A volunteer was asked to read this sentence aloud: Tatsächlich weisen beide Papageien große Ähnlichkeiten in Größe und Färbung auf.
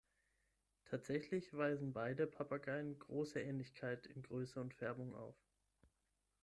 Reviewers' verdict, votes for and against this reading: rejected, 3, 6